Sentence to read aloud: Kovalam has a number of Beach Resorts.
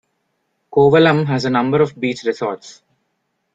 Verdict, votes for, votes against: accepted, 2, 0